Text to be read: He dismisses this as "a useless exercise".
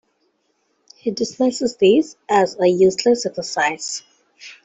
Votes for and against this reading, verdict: 2, 1, accepted